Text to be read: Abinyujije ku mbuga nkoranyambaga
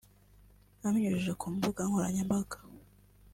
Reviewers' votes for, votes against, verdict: 2, 0, accepted